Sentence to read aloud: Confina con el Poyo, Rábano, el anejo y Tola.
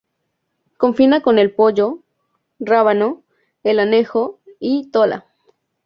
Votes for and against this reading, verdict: 2, 0, accepted